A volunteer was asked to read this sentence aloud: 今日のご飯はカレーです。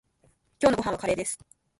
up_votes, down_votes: 1, 2